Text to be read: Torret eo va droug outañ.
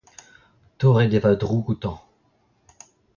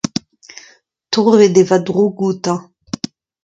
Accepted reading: second